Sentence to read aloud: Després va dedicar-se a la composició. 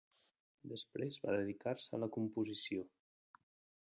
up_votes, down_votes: 1, 2